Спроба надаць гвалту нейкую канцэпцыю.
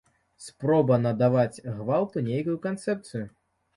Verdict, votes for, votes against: rejected, 0, 2